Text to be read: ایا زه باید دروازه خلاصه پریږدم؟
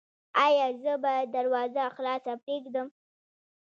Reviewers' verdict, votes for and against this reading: accepted, 2, 0